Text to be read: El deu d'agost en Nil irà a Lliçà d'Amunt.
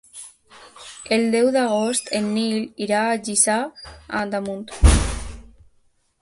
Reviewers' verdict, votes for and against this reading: rejected, 1, 3